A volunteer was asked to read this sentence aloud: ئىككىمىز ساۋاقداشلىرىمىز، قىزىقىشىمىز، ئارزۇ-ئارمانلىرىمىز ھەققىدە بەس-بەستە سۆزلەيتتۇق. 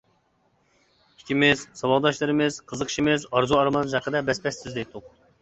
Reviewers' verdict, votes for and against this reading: rejected, 0, 2